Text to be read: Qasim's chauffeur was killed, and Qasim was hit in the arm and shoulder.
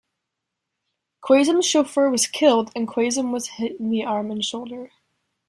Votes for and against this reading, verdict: 2, 0, accepted